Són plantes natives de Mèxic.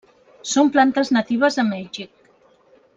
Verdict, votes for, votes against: rejected, 0, 2